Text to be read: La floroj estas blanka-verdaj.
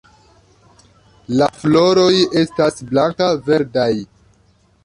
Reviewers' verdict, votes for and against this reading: rejected, 0, 2